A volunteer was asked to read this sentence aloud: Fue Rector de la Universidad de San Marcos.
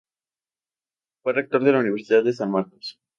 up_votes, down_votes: 2, 0